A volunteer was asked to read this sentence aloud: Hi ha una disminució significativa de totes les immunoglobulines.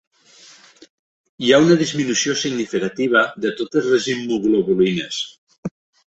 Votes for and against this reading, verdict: 1, 2, rejected